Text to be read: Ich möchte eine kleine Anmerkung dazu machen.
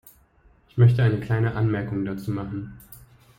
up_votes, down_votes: 2, 0